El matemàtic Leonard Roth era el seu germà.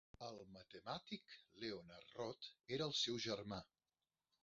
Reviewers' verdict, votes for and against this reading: rejected, 1, 2